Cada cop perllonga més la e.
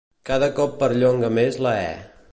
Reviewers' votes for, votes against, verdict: 2, 0, accepted